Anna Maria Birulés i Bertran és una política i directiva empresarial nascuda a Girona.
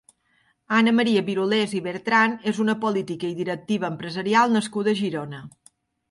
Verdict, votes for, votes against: accepted, 2, 0